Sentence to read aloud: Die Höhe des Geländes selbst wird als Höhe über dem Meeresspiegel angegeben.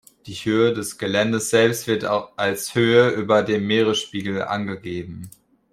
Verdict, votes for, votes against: rejected, 1, 3